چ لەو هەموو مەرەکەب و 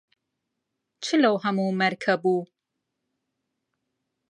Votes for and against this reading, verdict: 0, 2, rejected